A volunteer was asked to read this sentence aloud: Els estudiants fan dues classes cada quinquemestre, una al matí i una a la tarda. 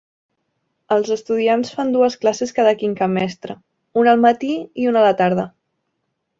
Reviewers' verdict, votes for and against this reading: accepted, 2, 0